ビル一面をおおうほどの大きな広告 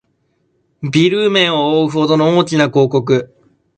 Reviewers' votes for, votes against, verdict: 0, 2, rejected